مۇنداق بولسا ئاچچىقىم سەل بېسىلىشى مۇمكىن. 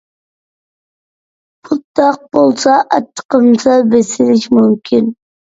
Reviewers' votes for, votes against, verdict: 2, 1, accepted